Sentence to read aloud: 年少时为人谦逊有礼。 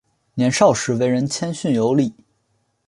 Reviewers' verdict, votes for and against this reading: accepted, 4, 0